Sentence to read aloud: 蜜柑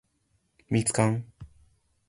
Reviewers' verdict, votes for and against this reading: accepted, 2, 0